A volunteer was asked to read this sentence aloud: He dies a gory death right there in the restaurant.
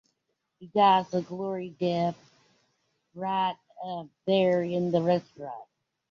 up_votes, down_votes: 0, 2